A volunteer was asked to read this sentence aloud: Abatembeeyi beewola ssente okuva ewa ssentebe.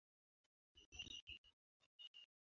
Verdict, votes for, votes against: rejected, 1, 2